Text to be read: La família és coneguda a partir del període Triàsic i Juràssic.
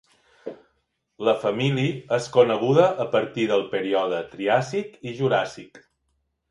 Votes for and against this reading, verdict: 1, 2, rejected